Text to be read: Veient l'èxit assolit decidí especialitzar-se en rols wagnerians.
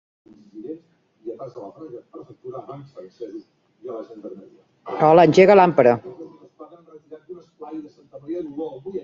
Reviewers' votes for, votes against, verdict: 0, 2, rejected